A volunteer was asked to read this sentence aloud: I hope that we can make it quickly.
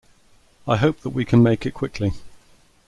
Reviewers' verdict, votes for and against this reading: accepted, 2, 1